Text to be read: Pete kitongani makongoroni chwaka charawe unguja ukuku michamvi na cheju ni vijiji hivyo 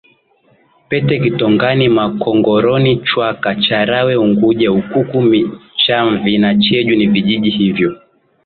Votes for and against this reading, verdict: 2, 0, accepted